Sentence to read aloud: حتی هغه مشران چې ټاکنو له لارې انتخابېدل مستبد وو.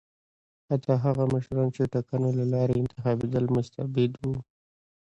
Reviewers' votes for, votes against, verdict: 2, 0, accepted